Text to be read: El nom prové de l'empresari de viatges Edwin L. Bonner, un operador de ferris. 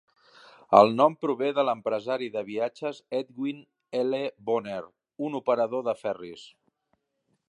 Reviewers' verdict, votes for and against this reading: rejected, 1, 2